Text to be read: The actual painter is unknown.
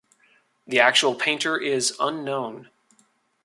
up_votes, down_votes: 2, 0